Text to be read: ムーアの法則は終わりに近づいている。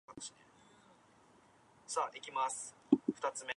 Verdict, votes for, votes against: rejected, 1, 2